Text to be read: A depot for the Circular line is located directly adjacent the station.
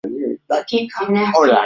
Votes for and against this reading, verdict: 0, 2, rejected